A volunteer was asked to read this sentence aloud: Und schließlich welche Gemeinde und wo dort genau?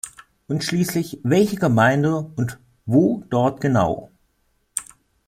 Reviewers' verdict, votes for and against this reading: accepted, 2, 0